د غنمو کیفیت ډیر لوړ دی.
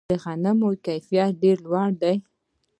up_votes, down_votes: 1, 2